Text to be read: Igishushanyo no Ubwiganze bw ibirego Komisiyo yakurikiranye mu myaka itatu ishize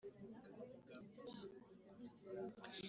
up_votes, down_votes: 0, 2